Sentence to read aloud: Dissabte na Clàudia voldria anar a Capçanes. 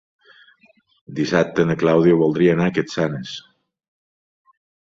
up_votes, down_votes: 2, 1